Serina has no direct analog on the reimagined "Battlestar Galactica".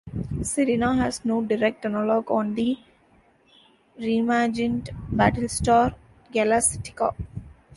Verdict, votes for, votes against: rejected, 0, 2